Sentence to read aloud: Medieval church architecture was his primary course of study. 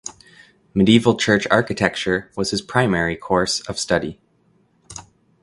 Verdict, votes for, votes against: accepted, 2, 0